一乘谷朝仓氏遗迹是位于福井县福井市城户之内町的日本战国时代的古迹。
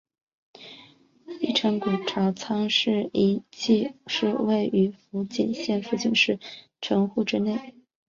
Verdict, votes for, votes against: rejected, 0, 2